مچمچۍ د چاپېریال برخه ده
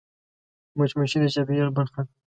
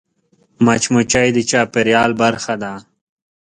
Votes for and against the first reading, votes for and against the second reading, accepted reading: 0, 2, 2, 0, second